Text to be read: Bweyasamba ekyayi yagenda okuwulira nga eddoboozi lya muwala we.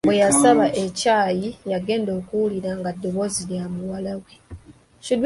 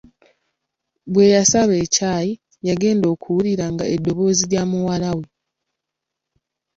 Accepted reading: first